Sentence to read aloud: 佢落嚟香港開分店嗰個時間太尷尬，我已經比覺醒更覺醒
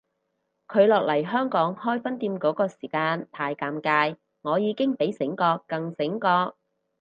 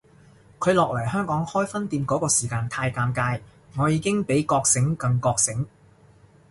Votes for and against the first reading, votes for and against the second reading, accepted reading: 2, 2, 2, 0, second